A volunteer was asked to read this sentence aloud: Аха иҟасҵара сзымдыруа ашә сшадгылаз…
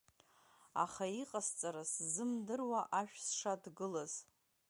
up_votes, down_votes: 2, 0